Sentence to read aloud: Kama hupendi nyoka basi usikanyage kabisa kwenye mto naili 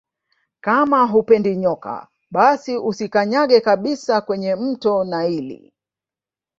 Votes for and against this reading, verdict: 2, 0, accepted